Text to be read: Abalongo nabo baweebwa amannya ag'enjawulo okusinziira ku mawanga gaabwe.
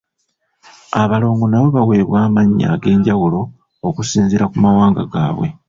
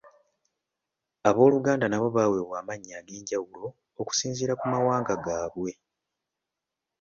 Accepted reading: first